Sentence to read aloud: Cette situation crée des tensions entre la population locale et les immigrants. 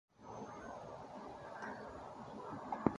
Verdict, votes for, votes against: rejected, 0, 2